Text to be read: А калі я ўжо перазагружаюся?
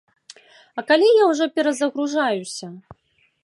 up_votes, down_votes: 2, 0